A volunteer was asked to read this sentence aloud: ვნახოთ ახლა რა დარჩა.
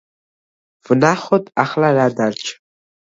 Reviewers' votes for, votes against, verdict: 2, 0, accepted